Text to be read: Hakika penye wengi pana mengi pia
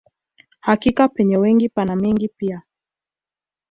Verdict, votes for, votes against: accepted, 2, 0